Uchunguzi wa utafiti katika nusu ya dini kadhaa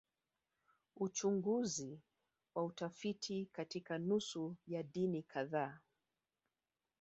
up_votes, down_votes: 1, 3